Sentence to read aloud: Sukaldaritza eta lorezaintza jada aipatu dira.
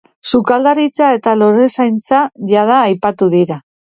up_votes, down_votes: 2, 0